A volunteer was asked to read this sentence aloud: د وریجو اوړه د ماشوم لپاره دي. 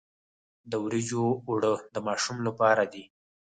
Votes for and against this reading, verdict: 2, 4, rejected